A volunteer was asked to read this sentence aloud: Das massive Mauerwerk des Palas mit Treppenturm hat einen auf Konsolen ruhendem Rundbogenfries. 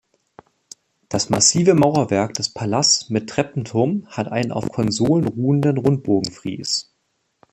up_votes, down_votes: 1, 2